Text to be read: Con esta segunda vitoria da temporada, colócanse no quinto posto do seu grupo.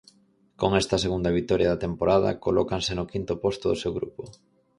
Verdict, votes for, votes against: accepted, 4, 0